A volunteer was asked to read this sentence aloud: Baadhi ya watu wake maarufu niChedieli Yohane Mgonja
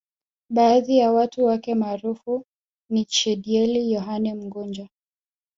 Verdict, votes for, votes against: rejected, 0, 2